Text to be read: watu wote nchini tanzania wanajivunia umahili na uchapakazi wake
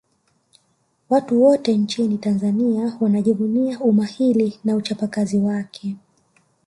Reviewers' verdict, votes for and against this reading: rejected, 1, 2